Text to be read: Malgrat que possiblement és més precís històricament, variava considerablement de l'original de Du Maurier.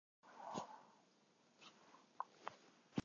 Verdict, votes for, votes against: rejected, 0, 2